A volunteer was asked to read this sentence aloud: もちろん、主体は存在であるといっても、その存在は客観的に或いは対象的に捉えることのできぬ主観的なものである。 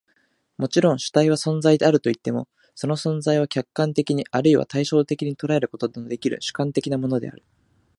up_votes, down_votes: 3, 0